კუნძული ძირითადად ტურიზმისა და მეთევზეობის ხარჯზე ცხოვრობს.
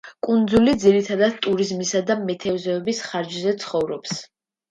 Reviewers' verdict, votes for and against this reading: accepted, 2, 0